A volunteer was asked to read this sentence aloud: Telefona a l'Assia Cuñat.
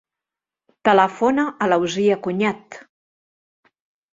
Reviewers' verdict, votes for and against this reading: rejected, 0, 2